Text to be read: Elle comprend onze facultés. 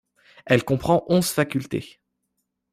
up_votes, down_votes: 2, 0